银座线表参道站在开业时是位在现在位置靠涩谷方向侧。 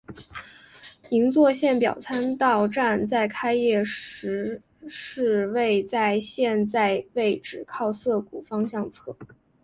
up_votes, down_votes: 3, 0